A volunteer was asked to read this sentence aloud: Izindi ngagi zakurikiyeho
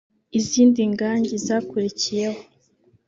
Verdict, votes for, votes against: rejected, 1, 3